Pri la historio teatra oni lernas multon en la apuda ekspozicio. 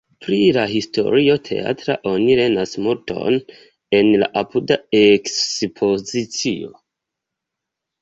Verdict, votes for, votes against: accepted, 2, 1